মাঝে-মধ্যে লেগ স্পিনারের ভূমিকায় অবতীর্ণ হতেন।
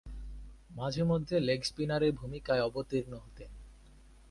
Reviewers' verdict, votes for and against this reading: accepted, 2, 0